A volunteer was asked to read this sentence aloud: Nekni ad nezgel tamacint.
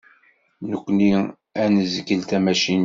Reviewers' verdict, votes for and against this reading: accepted, 2, 0